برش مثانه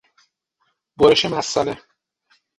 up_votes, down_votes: 6, 0